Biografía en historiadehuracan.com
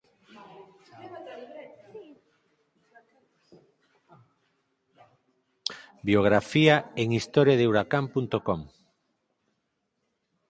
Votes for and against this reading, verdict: 0, 4, rejected